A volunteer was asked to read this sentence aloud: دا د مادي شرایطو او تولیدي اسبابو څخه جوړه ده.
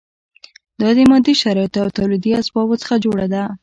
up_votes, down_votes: 2, 0